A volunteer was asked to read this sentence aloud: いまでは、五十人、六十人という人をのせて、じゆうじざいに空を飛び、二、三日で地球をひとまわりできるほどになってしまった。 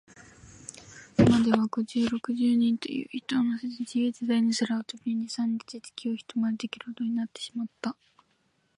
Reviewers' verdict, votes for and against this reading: rejected, 1, 2